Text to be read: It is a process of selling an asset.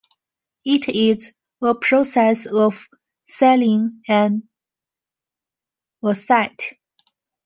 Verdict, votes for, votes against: rejected, 1, 2